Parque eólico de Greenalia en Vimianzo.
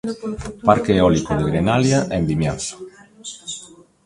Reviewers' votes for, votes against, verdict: 1, 2, rejected